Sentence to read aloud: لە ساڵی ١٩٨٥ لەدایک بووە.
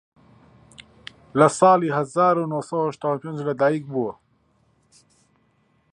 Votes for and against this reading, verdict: 0, 2, rejected